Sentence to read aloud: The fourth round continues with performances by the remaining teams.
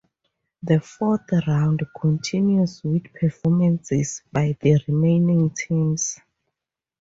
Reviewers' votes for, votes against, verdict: 2, 0, accepted